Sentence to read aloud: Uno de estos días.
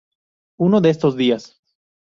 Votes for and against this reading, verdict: 2, 0, accepted